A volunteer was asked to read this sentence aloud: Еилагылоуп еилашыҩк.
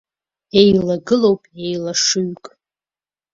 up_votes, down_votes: 2, 0